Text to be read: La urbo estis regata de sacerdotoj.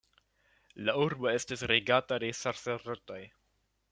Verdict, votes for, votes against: rejected, 0, 2